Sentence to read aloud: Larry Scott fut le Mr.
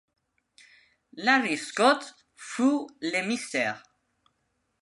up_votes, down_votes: 2, 0